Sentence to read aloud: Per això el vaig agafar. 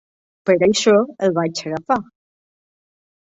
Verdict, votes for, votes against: rejected, 0, 2